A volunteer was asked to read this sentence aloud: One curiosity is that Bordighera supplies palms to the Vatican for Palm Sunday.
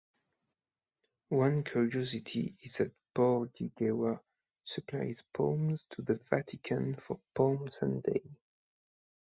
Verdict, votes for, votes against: rejected, 1, 2